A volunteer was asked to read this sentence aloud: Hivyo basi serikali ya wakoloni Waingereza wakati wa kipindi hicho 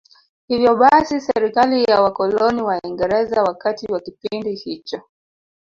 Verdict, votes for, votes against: accepted, 2, 1